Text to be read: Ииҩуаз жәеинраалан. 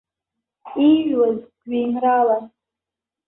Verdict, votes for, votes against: rejected, 0, 2